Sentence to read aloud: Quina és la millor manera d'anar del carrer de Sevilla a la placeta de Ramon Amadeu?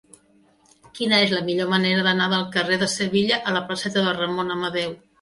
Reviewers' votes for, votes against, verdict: 2, 0, accepted